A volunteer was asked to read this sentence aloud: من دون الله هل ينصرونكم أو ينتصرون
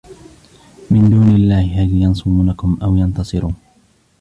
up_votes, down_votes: 1, 2